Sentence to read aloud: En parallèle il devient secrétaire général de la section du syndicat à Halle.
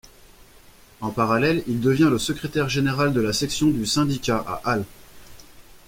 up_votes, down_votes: 2, 1